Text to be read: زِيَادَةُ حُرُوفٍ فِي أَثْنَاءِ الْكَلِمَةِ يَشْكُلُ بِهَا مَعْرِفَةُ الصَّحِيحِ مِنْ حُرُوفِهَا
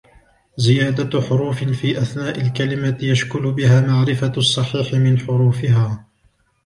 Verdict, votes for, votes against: accepted, 2, 0